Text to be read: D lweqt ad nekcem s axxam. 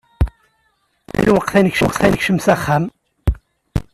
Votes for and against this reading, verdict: 0, 2, rejected